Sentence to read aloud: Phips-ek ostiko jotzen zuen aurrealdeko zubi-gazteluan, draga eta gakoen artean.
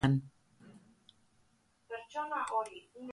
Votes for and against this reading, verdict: 1, 2, rejected